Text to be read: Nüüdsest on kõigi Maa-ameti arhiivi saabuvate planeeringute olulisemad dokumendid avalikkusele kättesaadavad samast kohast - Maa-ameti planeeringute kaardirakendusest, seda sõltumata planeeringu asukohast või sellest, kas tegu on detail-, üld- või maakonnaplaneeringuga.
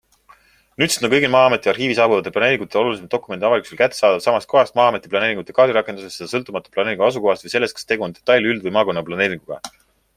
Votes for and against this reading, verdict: 4, 3, accepted